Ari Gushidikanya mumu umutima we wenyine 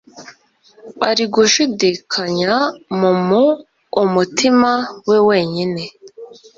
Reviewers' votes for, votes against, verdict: 2, 0, accepted